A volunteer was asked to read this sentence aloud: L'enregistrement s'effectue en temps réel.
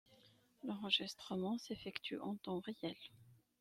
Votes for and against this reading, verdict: 2, 1, accepted